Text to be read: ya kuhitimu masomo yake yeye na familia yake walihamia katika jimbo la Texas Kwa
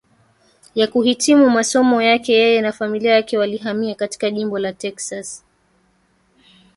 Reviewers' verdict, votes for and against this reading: accepted, 2, 1